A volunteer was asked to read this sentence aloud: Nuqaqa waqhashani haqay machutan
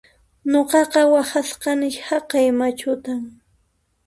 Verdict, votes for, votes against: rejected, 0, 2